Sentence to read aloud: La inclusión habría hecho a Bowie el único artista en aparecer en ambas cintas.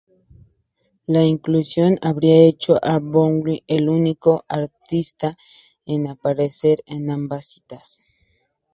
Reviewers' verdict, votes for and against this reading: rejected, 0, 2